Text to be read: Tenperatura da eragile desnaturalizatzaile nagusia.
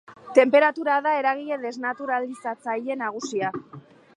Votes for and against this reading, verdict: 2, 0, accepted